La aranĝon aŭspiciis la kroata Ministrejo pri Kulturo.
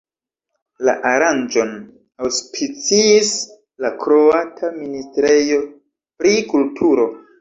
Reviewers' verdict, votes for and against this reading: rejected, 1, 2